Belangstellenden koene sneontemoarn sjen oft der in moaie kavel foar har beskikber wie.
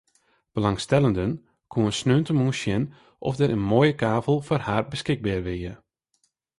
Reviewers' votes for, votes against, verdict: 0, 2, rejected